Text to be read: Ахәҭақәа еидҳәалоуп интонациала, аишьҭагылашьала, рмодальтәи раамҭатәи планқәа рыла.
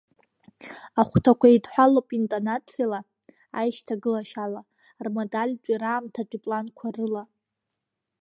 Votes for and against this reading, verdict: 2, 1, accepted